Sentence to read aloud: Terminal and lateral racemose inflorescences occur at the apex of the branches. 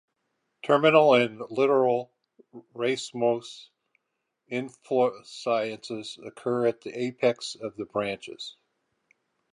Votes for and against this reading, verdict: 2, 2, rejected